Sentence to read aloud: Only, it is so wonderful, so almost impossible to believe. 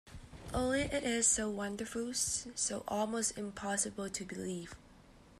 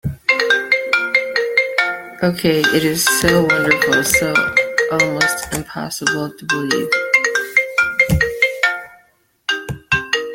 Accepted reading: first